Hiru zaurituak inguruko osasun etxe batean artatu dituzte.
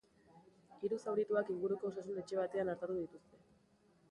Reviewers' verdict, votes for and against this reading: accepted, 3, 0